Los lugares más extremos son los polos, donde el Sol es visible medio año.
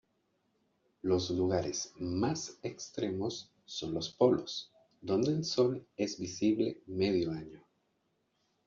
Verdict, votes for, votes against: accepted, 2, 0